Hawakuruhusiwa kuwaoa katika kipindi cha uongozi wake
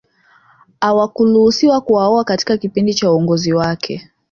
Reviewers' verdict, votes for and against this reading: accepted, 5, 0